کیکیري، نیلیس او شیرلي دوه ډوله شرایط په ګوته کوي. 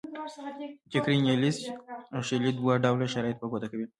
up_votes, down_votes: 2, 1